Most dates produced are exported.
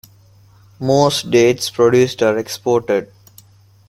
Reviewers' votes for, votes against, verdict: 2, 0, accepted